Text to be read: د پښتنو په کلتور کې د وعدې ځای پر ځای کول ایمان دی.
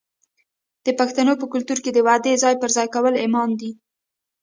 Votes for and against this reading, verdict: 1, 2, rejected